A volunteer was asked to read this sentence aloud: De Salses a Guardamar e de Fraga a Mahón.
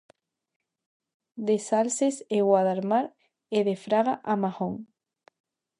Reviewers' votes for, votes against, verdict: 0, 2, rejected